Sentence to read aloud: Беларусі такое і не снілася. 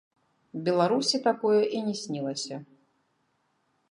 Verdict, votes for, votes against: rejected, 0, 2